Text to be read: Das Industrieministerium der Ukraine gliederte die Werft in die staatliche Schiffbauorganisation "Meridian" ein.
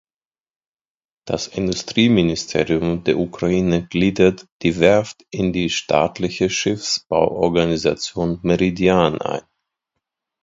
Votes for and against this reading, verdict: 2, 0, accepted